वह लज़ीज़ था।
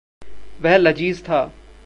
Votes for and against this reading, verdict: 2, 0, accepted